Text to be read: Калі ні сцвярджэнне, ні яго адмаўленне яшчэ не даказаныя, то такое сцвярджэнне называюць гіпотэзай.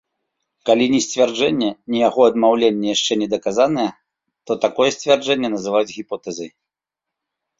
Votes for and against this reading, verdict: 2, 0, accepted